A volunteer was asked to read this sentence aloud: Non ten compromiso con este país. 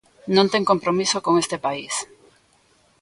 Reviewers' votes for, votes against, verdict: 2, 0, accepted